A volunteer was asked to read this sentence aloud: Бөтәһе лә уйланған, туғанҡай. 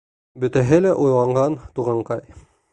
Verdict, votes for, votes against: accepted, 2, 0